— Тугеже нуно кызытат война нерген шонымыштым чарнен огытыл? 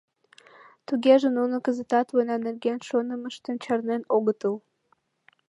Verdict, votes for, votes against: accepted, 2, 0